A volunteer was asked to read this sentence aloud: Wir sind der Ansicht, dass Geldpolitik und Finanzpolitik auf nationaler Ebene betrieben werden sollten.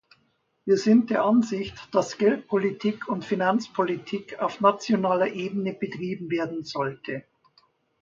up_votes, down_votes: 0, 2